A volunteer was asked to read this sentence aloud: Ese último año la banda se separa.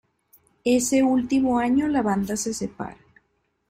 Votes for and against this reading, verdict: 2, 0, accepted